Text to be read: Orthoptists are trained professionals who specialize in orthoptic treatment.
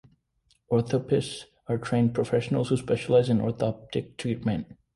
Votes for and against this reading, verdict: 3, 0, accepted